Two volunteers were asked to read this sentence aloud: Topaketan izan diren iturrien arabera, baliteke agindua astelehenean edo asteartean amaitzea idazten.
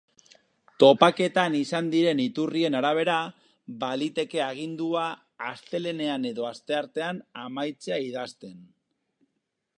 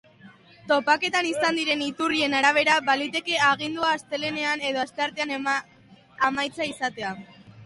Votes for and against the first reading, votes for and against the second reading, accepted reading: 4, 0, 0, 2, first